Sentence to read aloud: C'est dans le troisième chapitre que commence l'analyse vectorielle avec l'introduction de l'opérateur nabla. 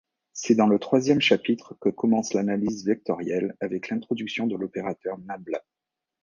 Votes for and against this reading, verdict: 2, 1, accepted